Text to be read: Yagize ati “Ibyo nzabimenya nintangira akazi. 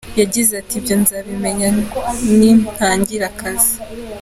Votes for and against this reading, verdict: 2, 0, accepted